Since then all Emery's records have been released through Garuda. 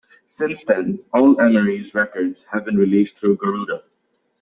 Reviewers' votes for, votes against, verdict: 2, 0, accepted